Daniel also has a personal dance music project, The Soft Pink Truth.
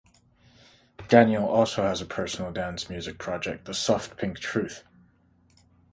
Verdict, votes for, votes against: accepted, 3, 0